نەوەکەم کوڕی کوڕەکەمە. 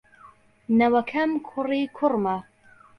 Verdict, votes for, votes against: accepted, 2, 0